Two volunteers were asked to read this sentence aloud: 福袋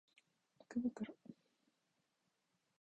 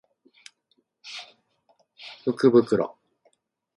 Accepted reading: second